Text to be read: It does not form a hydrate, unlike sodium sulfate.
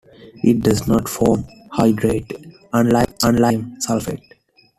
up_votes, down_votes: 0, 2